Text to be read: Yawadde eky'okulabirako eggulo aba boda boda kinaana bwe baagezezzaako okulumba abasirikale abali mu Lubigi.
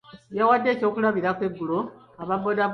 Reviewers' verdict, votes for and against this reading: rejected, 1, 2